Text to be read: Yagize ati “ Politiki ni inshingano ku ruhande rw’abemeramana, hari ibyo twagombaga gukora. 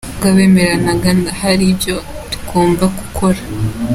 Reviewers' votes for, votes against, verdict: 0, 2, rejected